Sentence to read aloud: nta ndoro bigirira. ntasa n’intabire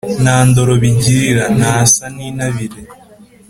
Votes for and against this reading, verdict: 2, 0, accepted